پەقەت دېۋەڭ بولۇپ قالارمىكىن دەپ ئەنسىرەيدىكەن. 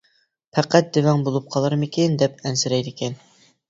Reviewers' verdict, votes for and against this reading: accepted, 2, 0